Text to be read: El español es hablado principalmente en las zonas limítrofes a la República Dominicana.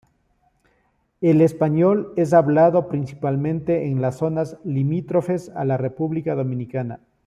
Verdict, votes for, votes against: accepted, 2, 0